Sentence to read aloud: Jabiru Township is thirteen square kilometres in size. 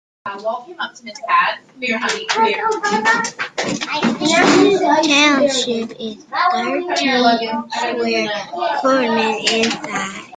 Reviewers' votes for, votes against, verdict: 1, 2, rejected